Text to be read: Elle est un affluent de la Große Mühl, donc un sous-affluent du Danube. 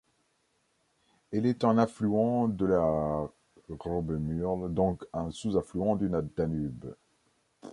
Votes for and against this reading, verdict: 0, 2, rejected